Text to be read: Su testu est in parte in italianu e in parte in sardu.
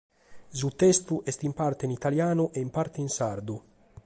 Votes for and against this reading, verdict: 2, 0, accepted